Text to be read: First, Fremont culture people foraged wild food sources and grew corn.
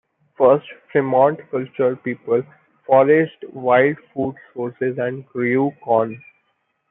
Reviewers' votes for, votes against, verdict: 2, 1, accepted